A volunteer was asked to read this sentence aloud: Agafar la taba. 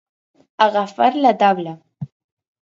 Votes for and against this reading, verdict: 0, 4, rejected